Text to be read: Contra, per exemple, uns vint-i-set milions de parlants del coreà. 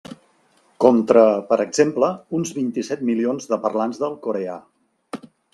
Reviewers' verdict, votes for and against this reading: accepted, 3, 0